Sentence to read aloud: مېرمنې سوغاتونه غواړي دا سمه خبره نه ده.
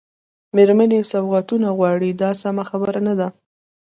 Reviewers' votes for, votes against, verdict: 2, 0, accepted